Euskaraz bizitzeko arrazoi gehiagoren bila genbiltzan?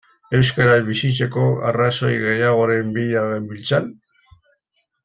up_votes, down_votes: 1, 2